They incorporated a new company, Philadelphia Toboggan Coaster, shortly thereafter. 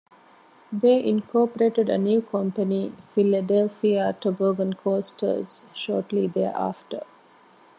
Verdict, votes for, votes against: rejected, 0, 2